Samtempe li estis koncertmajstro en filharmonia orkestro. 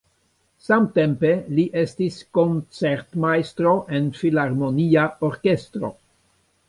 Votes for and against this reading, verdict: 2, 0, accepted